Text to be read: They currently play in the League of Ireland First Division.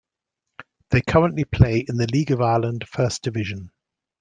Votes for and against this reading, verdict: 2, 0, accepted